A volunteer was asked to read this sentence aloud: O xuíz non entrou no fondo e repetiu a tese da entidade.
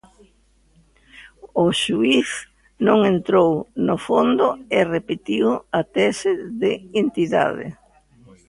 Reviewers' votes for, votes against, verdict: 0, 2, rejected